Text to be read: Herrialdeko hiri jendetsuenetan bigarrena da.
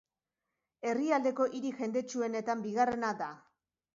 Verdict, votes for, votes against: rejected, 2, 2